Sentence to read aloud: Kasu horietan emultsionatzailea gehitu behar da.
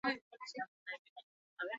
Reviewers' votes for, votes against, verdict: 0, 2, rejected